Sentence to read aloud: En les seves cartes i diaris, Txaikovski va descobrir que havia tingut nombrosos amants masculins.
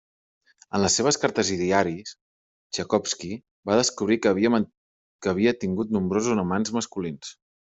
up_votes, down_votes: 1, 2